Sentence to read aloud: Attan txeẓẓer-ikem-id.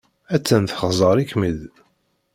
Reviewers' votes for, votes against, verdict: 2, 1, accepted